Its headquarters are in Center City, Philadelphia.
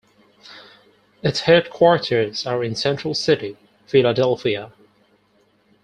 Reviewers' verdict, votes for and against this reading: rejected, 0, 4